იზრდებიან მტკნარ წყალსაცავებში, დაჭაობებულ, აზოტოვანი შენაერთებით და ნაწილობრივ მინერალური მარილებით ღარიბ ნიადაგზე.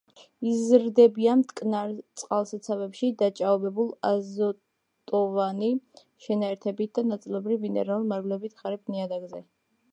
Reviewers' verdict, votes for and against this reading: rejected, 1, 2